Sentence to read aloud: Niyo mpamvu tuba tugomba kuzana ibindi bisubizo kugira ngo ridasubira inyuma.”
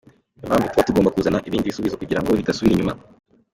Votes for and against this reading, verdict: 2, 0, accepted